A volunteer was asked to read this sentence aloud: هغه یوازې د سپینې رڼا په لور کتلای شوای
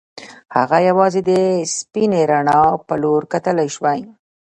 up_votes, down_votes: 1, 2